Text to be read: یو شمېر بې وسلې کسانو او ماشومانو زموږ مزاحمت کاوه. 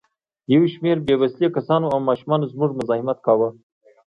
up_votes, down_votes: 2, 0